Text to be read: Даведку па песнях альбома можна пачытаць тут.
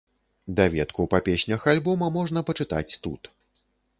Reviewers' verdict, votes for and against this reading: accepted, 3, 0